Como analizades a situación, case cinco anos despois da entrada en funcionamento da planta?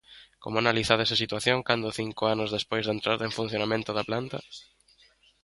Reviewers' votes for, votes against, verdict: 0, 2, rejected